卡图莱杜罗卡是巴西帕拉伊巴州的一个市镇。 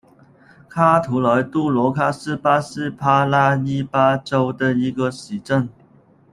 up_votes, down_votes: 0, 2